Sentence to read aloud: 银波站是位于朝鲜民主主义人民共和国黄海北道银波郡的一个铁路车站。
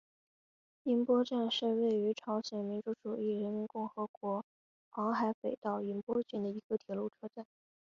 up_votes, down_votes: 2, 0